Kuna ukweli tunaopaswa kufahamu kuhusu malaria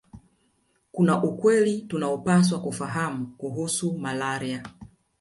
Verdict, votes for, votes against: rejected, 1, 2